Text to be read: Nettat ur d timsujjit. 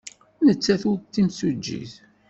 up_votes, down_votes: 1, 2